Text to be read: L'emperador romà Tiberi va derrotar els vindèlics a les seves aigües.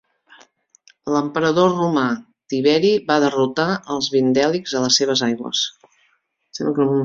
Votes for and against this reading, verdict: 1, 2, rejected